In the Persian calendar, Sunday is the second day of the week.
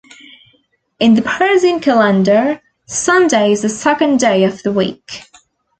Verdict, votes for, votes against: accepted, 2, 0